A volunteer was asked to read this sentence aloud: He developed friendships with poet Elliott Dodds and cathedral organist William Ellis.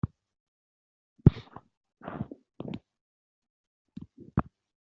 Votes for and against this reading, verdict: 0, 2, rejected